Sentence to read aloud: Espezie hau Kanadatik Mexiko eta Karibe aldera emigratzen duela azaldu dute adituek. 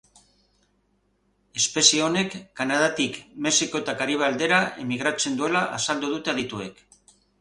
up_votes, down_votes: 0, 2